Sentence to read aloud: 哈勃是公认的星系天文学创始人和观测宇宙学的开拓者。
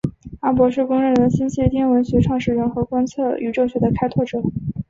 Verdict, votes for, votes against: accepted, 3, 0